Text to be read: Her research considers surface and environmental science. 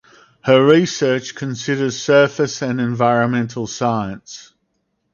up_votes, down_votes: 4, 0